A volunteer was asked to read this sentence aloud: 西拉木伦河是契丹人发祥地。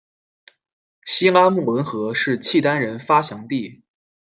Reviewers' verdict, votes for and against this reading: accepted, 2, 0